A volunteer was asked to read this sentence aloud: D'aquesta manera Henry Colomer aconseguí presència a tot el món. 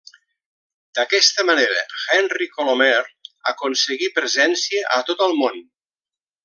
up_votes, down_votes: 3, 0